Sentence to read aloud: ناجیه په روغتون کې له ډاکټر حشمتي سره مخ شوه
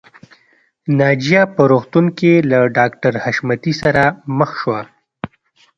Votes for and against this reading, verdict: 2, 0, accepted